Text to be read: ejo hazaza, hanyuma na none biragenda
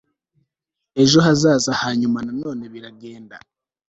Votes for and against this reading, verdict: 2, 0, accepted